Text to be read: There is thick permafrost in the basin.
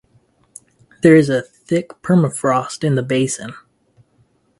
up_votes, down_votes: 0, 2